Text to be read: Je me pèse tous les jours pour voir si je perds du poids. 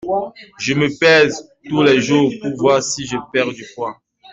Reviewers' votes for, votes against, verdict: 2, 1, accepted